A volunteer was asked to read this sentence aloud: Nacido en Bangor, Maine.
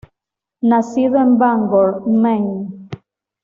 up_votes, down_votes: 2, 0